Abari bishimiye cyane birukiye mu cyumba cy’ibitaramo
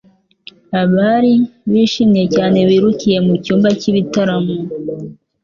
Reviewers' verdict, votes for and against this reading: accepted, 2, 0